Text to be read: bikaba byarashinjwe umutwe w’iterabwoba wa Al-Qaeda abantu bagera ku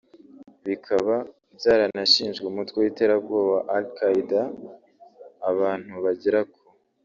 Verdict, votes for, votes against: rejected, 1, 2